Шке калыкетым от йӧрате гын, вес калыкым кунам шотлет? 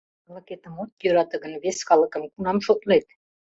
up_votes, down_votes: 1, 2